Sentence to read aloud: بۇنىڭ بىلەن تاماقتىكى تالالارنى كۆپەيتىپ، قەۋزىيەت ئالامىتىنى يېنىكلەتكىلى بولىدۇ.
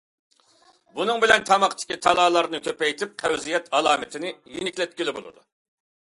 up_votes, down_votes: 2, 0